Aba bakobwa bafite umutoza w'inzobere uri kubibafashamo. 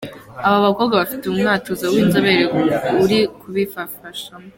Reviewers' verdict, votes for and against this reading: rejected, 1, 3